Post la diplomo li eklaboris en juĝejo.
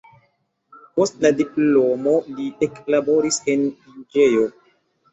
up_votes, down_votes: 1, 2